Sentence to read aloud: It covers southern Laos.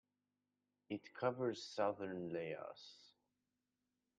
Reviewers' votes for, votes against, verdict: 0, 2, rejected